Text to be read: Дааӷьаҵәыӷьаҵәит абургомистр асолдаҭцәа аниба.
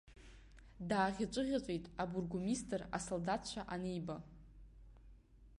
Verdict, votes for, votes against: accepted, 2, 0